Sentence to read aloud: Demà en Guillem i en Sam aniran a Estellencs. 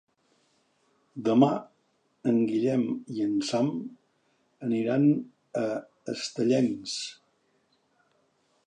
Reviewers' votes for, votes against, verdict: 4, 0, accepted